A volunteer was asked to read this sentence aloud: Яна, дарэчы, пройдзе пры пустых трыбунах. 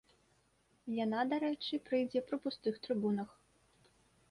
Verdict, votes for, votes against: rejected, 0, 2